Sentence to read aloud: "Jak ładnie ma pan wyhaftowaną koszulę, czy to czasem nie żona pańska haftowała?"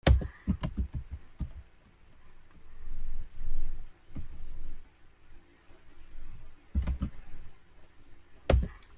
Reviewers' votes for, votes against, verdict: 0, 2, rejected